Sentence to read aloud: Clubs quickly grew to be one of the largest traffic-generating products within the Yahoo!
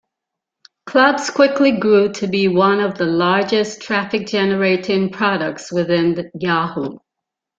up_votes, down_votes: 2, 0